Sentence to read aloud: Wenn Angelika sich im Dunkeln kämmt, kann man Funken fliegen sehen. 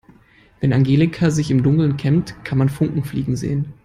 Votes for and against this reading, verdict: 2, 0, accepted